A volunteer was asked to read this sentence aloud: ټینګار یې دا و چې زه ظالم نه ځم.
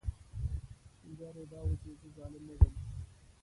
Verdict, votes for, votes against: rejected, 1, 2